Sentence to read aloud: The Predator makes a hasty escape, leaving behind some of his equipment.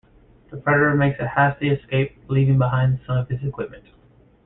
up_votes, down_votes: 0, 2